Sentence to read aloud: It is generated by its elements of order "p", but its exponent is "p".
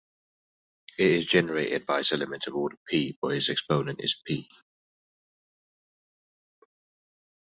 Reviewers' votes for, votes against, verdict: 2, 0, accepted